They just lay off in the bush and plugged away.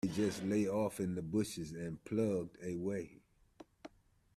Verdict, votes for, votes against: rejected, 1, 2